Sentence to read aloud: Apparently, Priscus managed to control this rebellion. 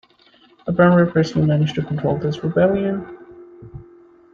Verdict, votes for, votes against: rejected, 0, 2